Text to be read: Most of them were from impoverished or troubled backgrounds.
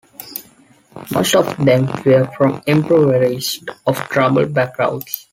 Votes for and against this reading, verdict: 1, 2, rejected